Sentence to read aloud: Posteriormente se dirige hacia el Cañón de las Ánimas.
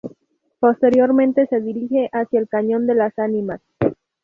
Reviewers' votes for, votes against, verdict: 2, 0, accepted